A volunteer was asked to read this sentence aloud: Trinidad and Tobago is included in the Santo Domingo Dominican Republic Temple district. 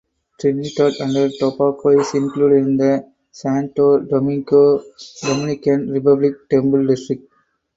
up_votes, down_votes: 0, 4